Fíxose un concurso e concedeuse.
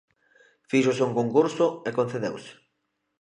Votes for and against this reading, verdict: 2, 0, accepted